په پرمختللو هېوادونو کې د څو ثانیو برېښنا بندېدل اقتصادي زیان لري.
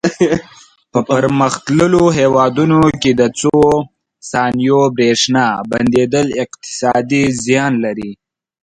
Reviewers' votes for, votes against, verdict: 0, 2, rejected